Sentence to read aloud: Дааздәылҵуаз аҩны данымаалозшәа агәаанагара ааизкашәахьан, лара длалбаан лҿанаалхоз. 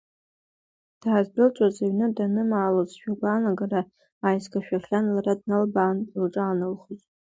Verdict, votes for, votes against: rejected, 1, 2